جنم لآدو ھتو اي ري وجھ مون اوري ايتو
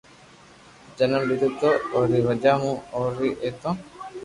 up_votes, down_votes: 3, 0